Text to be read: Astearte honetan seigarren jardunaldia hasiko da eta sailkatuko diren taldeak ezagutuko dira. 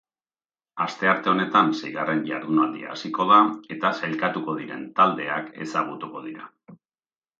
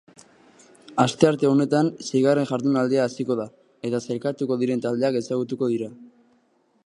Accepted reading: second